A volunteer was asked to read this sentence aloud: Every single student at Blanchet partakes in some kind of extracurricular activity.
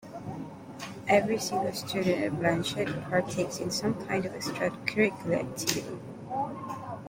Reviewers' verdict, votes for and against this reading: accepted, 3, 1